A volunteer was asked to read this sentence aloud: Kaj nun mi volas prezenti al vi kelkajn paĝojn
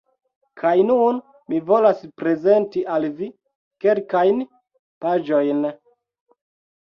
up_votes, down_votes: 2, 0